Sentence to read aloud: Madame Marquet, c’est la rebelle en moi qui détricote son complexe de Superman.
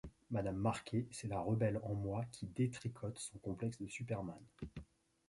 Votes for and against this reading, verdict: 2, 0, accepted